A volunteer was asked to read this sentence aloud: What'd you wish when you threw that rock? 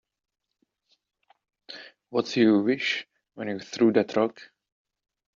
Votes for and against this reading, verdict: 2, 1, accepted